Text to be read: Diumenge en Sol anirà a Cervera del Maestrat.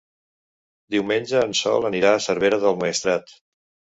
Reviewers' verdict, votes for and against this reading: accepted, 3, 0